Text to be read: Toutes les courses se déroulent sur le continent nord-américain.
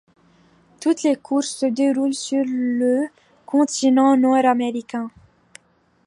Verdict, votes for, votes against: rejected, 0, 2